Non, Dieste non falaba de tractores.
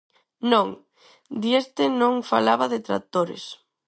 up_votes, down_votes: 4, 0